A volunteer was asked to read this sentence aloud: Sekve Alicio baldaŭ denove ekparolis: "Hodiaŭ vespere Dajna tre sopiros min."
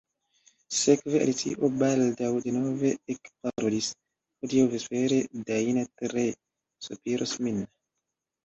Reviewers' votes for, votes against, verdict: 1, 2, rejected